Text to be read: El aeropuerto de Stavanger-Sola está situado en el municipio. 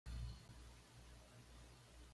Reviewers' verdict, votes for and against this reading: rejected, 1, 2